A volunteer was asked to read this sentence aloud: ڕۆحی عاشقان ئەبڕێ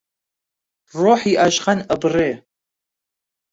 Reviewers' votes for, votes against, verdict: 2, 0, accepted